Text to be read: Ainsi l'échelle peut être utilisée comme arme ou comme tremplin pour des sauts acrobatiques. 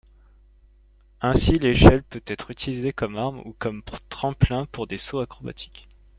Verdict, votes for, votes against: accepted, 2, 0